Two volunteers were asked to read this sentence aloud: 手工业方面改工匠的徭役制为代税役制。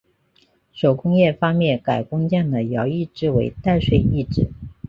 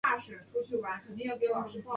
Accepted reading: first